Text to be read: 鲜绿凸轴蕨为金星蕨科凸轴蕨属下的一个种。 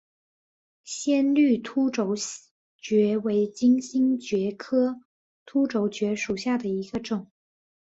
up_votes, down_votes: 3, 0